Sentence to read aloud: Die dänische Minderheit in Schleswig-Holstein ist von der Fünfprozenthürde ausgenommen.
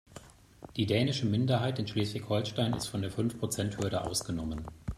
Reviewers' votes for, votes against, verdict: 2, 1, accepted